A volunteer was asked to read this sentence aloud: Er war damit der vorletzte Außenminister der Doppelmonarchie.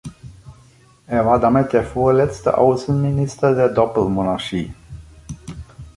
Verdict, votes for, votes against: accepted, 2, 0